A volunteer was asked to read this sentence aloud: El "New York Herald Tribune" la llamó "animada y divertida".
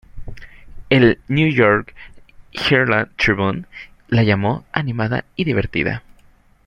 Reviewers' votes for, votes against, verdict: 0, 2, rejected